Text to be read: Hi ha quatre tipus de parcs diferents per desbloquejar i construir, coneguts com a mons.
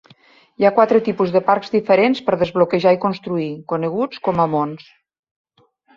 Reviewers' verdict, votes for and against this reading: accepted, 3, 0